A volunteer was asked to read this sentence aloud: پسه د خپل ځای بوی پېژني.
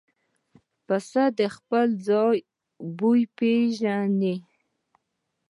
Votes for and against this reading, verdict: 2, 0, accepted